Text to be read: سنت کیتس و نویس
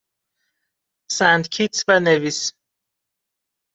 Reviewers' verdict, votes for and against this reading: accepted, 2, 1